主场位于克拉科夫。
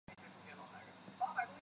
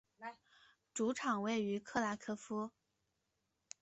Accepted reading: second